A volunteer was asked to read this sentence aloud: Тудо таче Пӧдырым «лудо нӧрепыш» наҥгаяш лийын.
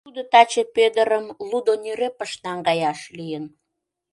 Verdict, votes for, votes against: accepted, 2, 0